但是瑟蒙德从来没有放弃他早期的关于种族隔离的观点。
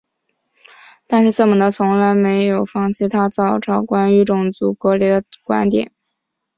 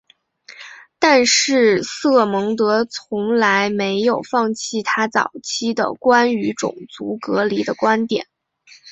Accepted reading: second